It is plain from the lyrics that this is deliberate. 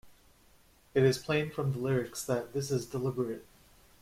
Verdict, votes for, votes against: accepted, 2, 0